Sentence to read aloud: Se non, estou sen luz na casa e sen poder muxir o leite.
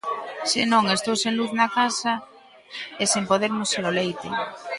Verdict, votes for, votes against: accepted, 2, 0